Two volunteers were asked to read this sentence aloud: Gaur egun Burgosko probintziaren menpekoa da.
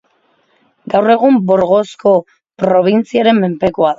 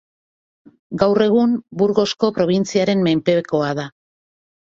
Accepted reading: second